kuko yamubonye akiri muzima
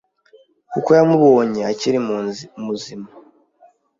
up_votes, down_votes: 1, 2